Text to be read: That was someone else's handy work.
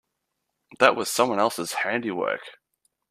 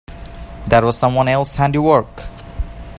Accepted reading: first